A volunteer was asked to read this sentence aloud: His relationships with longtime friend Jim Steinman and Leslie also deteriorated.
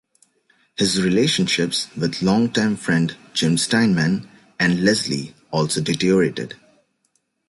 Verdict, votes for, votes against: rejected, 0, 2